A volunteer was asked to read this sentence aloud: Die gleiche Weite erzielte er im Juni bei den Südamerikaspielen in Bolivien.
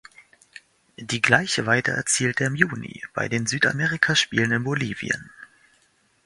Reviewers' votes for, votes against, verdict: 2, 0, accepted